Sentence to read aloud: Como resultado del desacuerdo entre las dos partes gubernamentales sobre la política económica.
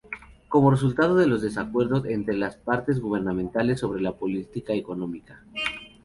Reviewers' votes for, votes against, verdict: 0, 2, rejected